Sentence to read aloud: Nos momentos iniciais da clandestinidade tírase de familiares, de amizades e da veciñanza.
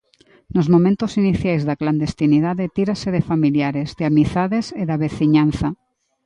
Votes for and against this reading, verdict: 2, 0, accepted